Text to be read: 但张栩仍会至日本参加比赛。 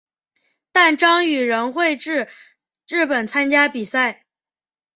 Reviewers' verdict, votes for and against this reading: accepted, 2, 0